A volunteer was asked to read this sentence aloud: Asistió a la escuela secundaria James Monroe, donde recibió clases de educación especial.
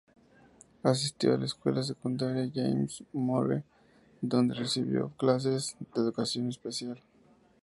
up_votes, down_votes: 0, 2